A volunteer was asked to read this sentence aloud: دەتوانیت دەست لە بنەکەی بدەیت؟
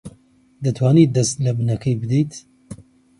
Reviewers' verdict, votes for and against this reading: accepted, 2, 0